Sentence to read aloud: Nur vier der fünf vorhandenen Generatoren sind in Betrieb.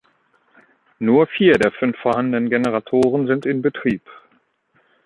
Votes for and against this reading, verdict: 2, 0, accepted